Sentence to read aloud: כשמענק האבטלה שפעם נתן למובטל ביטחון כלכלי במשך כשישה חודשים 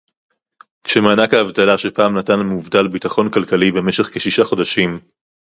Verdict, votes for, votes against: accepted, 4, 0